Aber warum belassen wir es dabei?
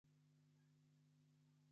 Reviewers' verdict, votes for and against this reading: rejected, 0, 2